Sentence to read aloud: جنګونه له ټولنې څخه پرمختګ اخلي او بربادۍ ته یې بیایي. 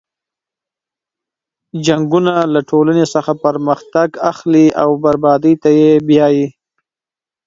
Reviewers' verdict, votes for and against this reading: accepted, 3, 0